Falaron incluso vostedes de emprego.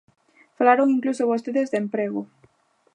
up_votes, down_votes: 2, 0